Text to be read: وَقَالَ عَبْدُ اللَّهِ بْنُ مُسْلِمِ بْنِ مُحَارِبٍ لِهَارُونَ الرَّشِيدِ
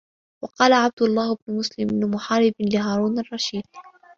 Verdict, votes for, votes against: accepted, 2, 0